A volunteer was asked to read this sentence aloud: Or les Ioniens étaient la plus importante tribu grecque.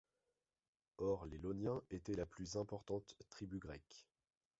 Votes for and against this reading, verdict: 2, 0, accepted